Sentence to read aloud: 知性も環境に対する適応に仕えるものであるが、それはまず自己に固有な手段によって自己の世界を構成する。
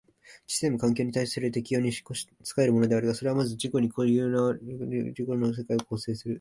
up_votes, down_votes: 0, 2